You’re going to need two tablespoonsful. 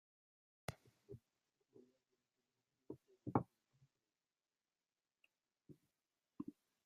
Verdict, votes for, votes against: rejected, 0, 2